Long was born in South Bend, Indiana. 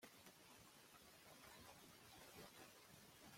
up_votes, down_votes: 0, 2